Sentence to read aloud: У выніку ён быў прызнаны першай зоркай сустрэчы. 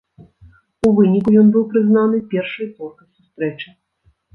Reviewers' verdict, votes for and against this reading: rejected, 1, 2